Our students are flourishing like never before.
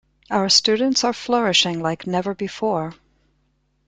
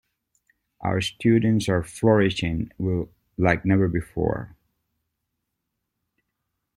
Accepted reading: first